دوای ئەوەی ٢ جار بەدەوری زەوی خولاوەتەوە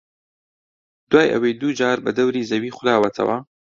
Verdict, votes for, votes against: rejected, 0, 2